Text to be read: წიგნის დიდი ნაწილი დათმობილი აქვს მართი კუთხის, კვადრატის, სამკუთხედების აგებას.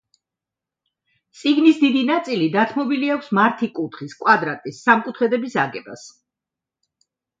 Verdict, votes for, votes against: accepted, 2, 0